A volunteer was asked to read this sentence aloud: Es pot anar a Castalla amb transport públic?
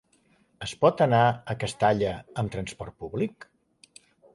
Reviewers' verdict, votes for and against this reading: accepted, 2, 0